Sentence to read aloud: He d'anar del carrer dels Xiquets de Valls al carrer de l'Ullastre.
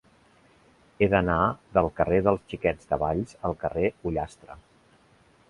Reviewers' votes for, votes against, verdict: 0, 2, rejected